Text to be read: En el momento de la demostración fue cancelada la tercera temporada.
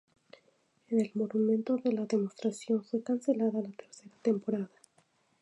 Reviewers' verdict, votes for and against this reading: rejected, 2, 2